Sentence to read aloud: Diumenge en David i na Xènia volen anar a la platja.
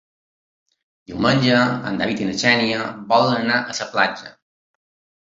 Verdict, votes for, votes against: rejected, 1, 2